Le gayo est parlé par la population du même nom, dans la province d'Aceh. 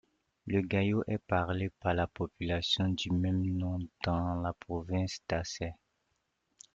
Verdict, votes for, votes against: accepted, 2, 1